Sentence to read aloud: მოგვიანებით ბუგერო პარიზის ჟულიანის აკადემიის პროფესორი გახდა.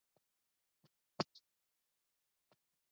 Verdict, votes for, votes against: rejected, 1, 2